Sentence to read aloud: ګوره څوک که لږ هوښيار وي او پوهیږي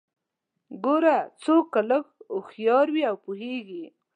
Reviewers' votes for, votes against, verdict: 2, 0, accepted